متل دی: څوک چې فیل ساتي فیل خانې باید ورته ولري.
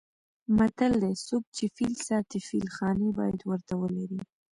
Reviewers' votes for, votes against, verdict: 0, 2, rejected